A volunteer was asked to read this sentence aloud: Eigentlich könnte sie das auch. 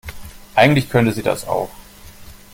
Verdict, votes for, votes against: accepted, 2, 0